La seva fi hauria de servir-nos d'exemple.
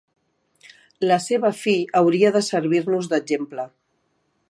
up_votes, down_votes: 2, 0